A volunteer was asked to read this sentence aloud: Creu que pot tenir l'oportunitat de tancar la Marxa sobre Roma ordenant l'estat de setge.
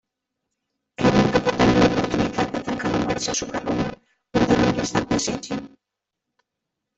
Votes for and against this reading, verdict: 0, 2, rejected